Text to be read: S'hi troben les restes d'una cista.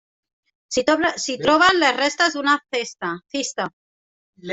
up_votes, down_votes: 0, 2